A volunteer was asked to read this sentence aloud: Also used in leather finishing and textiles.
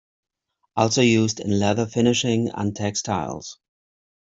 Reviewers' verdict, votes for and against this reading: accepted, 2, 0